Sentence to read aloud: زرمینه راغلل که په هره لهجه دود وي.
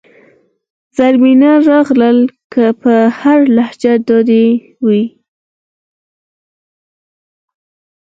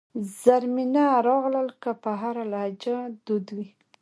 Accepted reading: second